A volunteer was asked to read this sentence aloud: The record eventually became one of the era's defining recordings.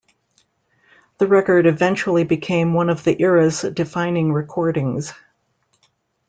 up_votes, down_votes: 2, 0